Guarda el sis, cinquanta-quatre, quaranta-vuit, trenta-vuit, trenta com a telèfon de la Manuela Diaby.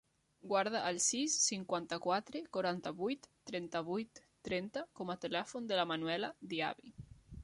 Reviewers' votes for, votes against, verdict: 3, 0, accepted